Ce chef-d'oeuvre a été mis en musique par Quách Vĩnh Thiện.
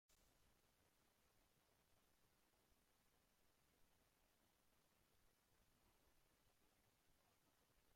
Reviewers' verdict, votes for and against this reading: rejected, 1, 2